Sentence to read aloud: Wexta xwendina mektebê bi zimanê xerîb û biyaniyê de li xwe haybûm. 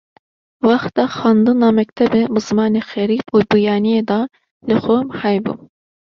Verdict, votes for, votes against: rejected, 0, 2